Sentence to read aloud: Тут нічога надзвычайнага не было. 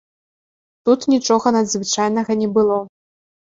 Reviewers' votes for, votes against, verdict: 2, 0, accepted